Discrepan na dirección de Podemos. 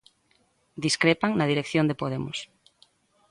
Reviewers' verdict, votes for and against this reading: accepted, 2, 0